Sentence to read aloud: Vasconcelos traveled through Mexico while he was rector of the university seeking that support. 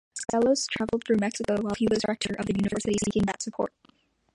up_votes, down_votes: 0, 2